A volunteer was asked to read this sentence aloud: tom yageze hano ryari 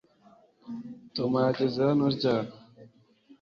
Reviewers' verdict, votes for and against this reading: accepted, 3, 0